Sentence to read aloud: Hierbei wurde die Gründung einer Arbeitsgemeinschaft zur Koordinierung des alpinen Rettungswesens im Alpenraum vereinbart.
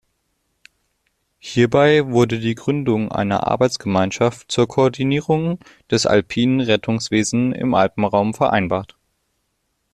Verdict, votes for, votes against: rejected, 0, 2